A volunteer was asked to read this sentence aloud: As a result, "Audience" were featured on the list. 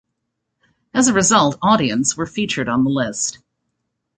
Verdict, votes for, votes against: accepted, 2, 0